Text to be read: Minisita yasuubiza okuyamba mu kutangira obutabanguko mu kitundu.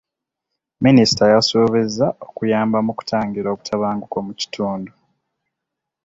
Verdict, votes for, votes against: accepted, 2, 0